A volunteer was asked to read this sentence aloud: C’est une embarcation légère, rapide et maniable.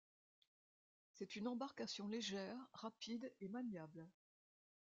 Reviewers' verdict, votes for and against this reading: rejected, 1, 2